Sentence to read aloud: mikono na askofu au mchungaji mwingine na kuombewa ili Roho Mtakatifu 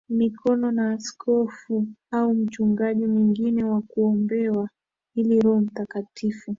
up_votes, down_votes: 2, 0